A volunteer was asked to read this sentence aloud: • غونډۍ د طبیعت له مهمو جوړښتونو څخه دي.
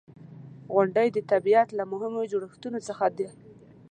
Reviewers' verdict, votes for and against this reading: accepted, 2, 0